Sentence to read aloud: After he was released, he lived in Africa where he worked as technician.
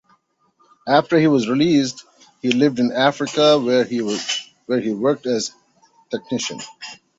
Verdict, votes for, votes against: rejected, 1, 2